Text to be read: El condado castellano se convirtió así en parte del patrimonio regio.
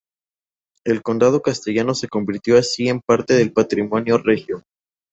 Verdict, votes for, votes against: accepted, 4, 0